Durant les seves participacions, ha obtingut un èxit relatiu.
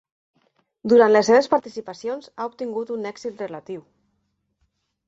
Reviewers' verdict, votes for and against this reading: accepted, 3, 1